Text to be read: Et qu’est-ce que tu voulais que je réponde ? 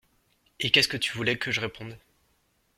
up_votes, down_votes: 2, 0